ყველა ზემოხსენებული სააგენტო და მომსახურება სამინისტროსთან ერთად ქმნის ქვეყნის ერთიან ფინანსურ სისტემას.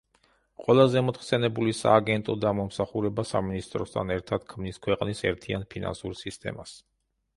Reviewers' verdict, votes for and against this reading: rejected, 0, 2